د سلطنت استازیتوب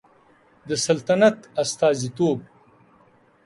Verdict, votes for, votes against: accepted, 2, 0